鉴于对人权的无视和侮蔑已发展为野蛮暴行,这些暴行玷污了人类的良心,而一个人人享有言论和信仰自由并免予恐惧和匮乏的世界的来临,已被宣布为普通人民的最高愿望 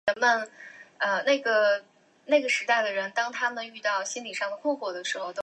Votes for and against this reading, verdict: 3, 4, rejected